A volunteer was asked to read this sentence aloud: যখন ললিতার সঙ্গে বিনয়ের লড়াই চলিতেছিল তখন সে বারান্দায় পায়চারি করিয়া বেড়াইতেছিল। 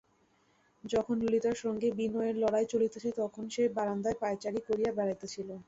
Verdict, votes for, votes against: rejected, 0, 2